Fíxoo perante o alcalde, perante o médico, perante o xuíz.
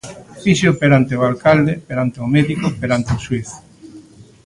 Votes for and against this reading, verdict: 0, 2, rejected